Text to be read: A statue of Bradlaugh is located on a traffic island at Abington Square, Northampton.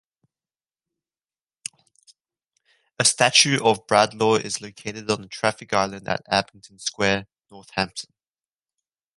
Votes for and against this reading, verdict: 2, 1, accepted